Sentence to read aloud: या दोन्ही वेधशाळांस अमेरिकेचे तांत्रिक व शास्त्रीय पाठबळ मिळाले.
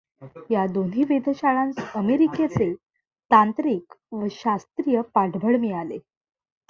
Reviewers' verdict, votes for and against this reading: accepted, 2, 0